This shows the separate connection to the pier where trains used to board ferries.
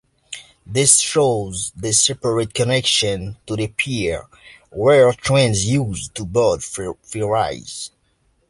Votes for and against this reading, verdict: 0, 2, rejected